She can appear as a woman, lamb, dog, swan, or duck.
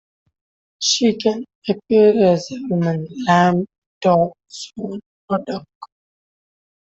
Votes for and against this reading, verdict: 1, 2, rejected